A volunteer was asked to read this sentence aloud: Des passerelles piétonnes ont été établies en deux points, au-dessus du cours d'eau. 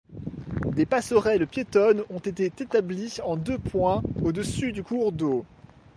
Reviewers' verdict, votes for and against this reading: accepted, 2, 0